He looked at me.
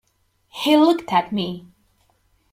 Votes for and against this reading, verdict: 2, 0, accepted